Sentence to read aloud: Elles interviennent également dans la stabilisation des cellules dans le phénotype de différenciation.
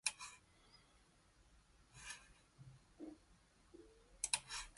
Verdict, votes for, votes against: rejected, 0, 2